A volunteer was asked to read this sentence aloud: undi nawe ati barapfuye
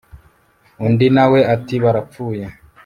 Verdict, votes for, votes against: accepted, 2, 0